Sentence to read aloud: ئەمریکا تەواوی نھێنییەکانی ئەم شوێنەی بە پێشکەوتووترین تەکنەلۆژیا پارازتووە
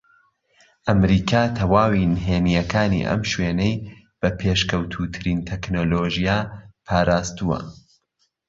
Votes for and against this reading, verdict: 2, 1, accepted